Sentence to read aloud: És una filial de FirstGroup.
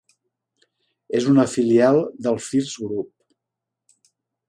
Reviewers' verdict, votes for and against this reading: rejected, 0, 2